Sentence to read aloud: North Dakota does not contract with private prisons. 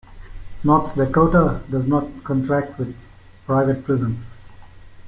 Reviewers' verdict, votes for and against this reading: accepted, 2, 0